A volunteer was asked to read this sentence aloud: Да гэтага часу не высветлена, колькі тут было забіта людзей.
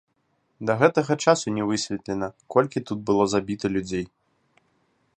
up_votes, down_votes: 1, 2